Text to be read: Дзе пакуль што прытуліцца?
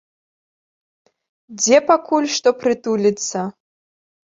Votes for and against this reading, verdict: 1, 3, rejected